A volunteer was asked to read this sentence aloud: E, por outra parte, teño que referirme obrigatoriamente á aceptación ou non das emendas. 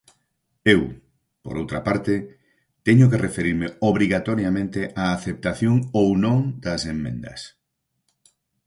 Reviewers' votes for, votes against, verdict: 0, 4, rejected